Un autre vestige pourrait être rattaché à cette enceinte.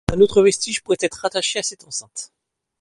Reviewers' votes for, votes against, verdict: 2, 0, accepted